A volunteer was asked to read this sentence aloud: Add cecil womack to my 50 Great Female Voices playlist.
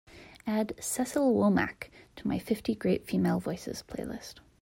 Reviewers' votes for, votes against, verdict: 0, 2, rejected